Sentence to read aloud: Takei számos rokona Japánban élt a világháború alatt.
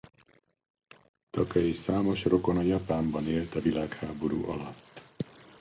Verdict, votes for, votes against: accepted, 2, 1